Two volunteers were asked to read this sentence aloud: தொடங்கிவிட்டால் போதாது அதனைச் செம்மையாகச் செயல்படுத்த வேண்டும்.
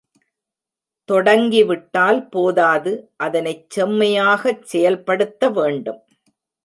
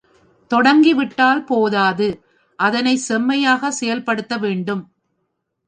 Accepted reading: second